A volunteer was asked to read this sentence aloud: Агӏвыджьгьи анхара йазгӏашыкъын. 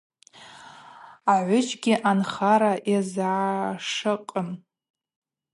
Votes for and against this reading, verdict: 2, 0, accepted